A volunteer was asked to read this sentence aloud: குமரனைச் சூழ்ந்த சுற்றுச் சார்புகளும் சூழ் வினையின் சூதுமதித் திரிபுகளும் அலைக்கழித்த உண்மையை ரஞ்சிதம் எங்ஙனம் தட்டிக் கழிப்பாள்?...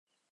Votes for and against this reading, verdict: 0, 2, rejected